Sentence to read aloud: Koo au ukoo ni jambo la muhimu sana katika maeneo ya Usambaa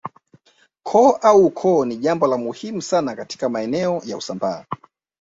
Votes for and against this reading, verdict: 0, 2, rejected